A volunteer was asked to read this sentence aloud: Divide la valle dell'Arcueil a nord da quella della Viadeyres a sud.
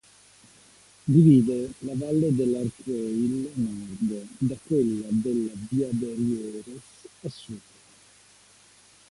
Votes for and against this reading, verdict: 1, 2, rejected